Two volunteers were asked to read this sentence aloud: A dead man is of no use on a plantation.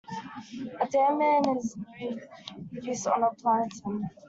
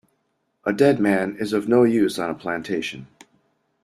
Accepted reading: second